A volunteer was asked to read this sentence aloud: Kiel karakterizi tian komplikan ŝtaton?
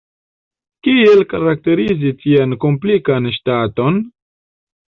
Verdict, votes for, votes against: accepted, 2, 1